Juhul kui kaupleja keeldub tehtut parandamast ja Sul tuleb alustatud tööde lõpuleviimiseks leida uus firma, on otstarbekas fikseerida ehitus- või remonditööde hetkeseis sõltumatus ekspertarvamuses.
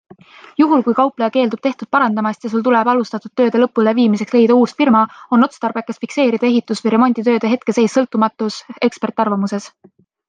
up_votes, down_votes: 2, 0